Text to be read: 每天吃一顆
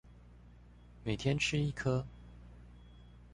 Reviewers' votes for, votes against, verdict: 2, 0, accepted